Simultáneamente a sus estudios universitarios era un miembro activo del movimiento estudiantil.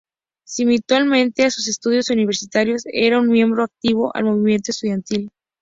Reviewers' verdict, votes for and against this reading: rejected, 0, 4